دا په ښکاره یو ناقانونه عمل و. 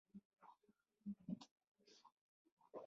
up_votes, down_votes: 0, 2